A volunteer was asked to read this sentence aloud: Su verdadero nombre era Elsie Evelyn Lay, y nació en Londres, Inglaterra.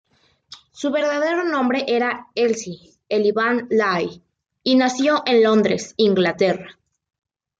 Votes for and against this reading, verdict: 2, 0, accepted